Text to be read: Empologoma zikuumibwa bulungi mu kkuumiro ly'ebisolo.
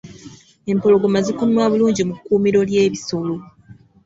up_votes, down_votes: 2, 0